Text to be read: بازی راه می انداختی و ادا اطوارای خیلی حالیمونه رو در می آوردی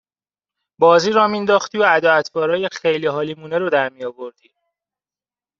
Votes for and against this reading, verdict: 2, 1, accepted